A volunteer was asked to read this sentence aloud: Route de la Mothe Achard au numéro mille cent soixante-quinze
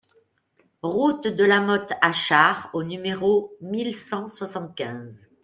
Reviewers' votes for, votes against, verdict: 3, 0, accepted